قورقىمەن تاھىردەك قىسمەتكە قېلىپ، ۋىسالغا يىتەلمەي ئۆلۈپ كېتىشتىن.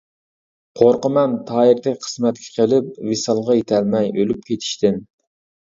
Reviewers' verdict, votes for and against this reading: accepted, 2, 0